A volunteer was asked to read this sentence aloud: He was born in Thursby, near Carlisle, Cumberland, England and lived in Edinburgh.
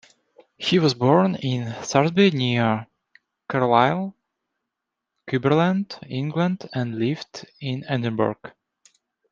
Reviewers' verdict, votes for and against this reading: rejected, 1, 2